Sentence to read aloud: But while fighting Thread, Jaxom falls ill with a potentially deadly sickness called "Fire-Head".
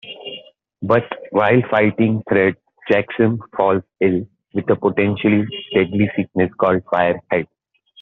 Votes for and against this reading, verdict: 2, 1, accepted